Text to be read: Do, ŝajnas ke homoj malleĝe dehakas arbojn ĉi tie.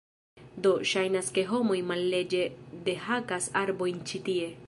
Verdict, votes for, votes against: accepted, 2, 0